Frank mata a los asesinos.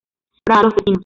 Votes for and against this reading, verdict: 0, 2, rejected